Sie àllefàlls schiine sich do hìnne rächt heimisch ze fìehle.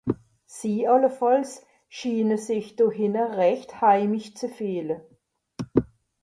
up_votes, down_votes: 2, 1